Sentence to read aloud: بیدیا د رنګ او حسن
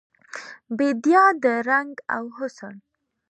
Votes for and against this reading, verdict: 2, 1, accepted